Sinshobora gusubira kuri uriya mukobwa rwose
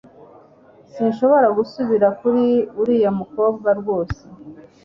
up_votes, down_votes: 2, 0